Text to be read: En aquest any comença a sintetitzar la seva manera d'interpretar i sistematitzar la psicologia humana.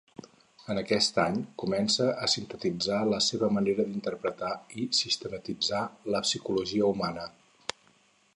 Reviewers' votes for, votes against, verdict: 6, 0, accepted